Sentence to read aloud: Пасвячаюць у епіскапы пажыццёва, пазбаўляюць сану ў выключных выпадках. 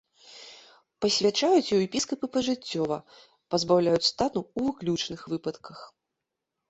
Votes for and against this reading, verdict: 0, 2, rejected